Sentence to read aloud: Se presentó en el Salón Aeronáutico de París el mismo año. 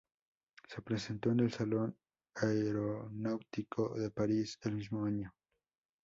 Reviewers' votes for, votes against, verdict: 0, 2, rejected